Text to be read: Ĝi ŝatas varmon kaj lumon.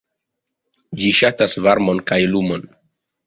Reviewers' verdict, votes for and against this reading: accepted, 2, 0